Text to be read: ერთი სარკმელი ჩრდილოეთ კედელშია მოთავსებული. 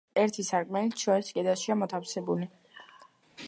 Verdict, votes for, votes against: accepted, 2, 0